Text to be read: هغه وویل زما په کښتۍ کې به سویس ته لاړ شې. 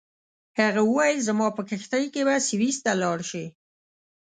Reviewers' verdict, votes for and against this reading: accepted, 2, 0